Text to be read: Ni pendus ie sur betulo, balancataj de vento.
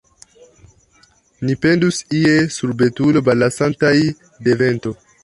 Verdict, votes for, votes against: rejected, 0, 2